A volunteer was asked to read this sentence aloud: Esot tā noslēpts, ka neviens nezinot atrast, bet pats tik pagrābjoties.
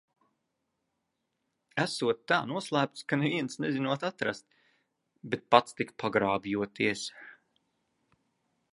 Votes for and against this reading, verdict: 2, 0, accepted